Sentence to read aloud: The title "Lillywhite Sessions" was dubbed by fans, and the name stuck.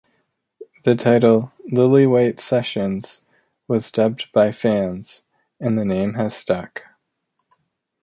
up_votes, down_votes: 0, 2